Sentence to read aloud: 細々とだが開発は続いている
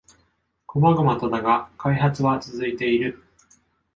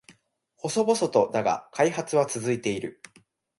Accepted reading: second